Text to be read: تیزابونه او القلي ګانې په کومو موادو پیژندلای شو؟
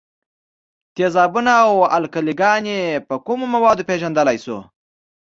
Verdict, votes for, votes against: accepted, 2, 0